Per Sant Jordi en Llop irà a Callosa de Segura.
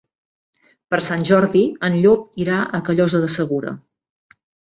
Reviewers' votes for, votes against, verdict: 1, 2, rejected